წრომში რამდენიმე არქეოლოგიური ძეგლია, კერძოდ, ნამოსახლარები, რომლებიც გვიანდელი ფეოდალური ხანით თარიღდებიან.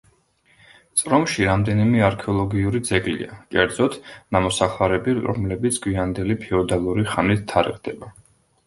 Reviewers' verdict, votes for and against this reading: rejected, 0, 2